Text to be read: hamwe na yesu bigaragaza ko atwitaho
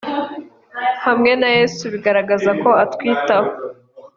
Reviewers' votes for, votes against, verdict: 3, 0, accepted